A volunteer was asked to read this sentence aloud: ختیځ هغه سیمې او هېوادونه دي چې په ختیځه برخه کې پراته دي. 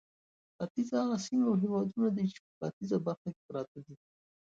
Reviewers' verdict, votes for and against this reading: accepted, 2, 0